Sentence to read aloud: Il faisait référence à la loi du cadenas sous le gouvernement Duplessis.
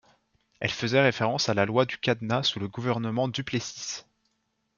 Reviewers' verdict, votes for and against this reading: rejected, 1, 2